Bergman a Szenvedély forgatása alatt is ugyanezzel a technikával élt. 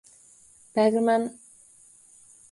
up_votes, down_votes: 0, 2